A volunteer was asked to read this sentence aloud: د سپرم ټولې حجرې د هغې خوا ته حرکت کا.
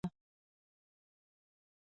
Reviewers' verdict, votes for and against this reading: rejected, 0, 2